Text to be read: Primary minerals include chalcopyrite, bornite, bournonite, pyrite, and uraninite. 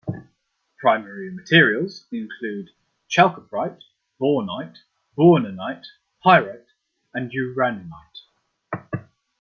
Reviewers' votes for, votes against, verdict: 1, 2, rejected